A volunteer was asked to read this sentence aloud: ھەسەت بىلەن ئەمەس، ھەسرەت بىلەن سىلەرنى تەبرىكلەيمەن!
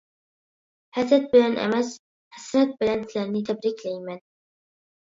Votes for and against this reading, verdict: 2, 0, accepted